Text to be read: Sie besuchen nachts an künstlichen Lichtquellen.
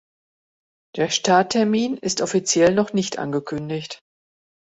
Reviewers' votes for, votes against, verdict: 0, 2, rejected